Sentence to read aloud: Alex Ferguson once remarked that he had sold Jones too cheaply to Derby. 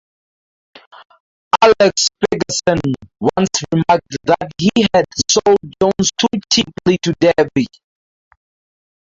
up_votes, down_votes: 0, 2